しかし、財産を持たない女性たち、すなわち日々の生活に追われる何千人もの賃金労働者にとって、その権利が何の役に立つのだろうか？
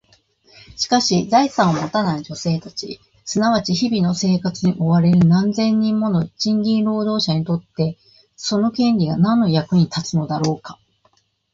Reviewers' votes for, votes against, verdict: 2, 0, accepted